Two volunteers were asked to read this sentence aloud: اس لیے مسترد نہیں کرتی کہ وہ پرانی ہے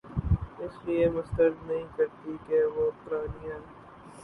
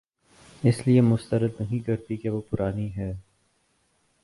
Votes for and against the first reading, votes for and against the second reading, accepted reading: 0, 2, 7, 1, second